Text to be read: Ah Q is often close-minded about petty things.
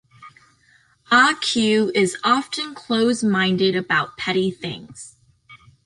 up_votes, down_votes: 2, 1